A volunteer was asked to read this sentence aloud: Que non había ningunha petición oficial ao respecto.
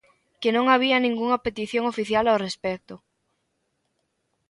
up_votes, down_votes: 2, 0